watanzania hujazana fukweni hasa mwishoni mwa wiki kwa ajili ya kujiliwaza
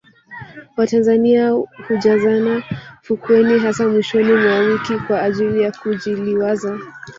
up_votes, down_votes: 1, 2